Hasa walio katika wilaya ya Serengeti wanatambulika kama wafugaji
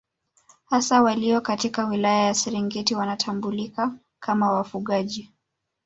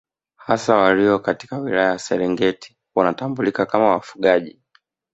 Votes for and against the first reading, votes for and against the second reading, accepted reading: 0, 2, 2, 0, second